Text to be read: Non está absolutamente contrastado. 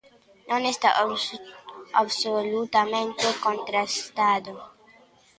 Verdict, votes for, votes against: rejected, 0, 2